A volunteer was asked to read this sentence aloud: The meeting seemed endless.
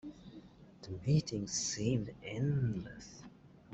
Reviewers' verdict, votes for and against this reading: accepted, 2, 0